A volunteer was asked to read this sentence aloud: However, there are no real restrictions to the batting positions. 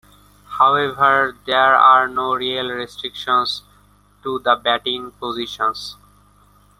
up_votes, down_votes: 2, 1